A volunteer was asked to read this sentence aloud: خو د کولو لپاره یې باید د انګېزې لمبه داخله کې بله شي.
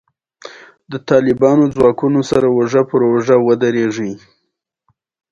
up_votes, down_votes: 1, 2